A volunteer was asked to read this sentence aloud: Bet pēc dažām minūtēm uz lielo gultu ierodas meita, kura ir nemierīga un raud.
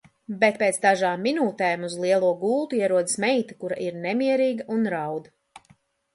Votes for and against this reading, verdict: 2, 0, accepted